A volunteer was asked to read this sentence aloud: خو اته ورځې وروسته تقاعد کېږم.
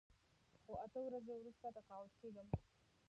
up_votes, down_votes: 0, 2